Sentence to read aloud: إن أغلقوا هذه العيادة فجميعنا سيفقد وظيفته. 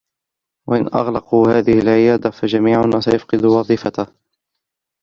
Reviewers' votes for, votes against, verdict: 0, 2, rejected